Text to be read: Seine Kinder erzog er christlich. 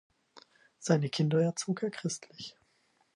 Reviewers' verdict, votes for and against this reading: accepted, 4, 0